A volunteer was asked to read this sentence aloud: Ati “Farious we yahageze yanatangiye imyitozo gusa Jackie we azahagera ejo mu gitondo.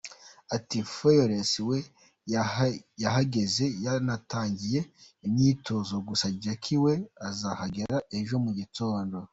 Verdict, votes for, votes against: rejected, 0, 2